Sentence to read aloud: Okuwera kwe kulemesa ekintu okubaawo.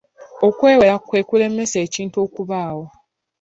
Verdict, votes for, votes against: rejected, 1, 2